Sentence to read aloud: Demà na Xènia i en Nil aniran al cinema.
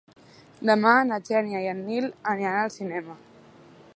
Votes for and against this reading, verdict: 2, 0, accepted